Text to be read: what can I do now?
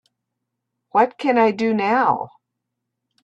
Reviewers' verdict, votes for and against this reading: accepted, 2, 0